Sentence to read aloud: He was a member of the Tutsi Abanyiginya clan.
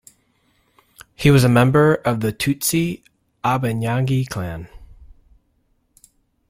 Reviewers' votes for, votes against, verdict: 0, 2, rejected